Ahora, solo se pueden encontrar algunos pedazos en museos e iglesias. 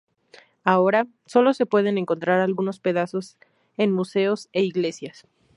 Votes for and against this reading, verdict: 2, 0, accepted